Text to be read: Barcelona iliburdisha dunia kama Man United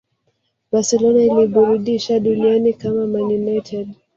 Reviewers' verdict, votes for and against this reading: rejected, 1, 2